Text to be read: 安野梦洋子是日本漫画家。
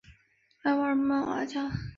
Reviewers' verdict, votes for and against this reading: rejected, 0, 5